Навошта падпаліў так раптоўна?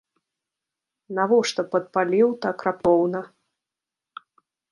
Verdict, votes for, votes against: accepted, 2, 1